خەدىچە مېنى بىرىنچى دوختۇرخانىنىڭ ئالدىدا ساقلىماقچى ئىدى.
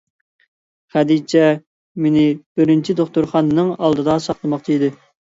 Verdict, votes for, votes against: accepted, 2, 0